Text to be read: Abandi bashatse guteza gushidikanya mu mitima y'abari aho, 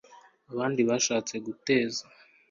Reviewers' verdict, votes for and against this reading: rejected, 1, 2